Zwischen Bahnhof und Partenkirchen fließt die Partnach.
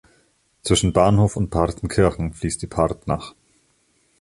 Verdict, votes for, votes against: accepted, 2, 1